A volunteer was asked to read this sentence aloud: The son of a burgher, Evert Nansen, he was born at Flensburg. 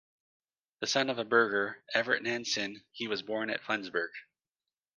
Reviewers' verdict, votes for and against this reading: accepted, 2, 0